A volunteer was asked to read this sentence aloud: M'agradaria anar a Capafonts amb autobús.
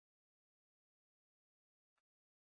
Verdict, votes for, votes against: rejected, 0, 2